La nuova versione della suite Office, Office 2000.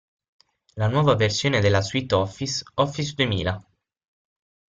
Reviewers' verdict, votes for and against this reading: rejected, 0, 2